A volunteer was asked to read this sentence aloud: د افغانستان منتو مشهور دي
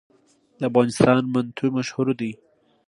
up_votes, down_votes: 2, 0